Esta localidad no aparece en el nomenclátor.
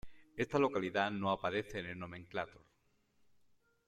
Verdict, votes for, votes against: accepted, 2, 1